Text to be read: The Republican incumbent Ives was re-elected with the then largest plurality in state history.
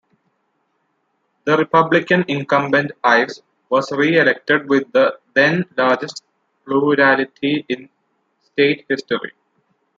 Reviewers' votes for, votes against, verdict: 0, 2, rejected